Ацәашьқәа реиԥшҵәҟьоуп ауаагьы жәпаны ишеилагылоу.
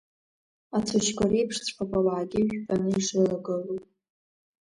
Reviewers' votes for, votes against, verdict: 2, 0, accepted